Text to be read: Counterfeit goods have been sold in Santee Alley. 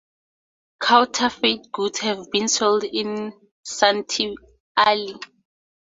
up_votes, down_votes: 4, 0